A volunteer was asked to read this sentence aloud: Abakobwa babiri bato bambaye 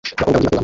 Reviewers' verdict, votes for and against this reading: rejected, 0, 2